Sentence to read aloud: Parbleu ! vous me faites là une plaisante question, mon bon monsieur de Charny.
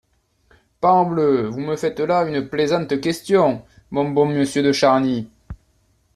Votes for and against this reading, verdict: 2, 0, accepted